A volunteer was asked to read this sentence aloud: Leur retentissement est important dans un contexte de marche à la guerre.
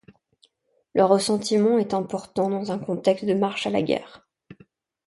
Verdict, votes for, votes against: rejected, 0, 2